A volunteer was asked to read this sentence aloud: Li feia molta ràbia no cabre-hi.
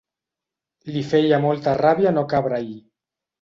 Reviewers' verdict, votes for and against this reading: accepted, 2, 0